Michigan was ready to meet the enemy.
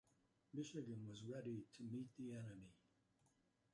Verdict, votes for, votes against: rejected, 1, 2